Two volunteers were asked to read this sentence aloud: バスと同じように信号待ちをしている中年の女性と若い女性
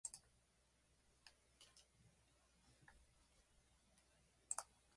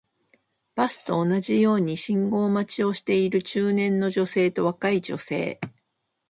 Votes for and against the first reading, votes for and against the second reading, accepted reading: 0, 2, 2, 0, second